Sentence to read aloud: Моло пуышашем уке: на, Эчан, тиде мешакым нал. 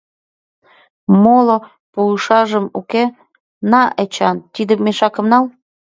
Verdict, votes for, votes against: rejected, 0, 2